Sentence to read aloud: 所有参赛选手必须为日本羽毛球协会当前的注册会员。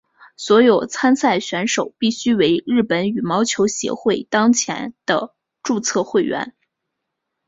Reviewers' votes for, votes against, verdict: 10, 0, accepted